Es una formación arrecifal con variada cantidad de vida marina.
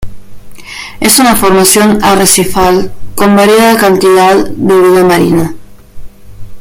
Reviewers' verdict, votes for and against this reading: rejected, 0, 2